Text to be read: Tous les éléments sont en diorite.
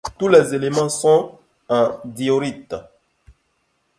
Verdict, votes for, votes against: accepted, 2, 0